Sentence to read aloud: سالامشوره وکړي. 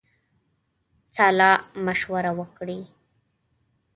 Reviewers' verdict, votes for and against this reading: accepted, 2, 0